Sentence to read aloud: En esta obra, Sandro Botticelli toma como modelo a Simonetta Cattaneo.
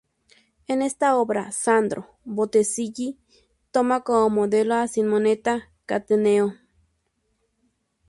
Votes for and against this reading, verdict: 0, 2, rejected